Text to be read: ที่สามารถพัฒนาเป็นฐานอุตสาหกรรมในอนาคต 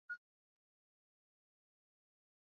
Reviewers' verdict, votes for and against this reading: rejected, 1, 2